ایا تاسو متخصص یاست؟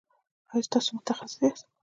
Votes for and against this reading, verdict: 1, 2, rejected